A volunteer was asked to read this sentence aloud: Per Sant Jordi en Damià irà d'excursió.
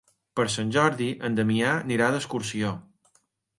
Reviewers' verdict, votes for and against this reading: accepted, 4, 2